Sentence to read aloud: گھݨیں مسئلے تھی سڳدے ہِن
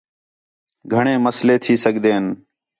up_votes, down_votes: 4, 0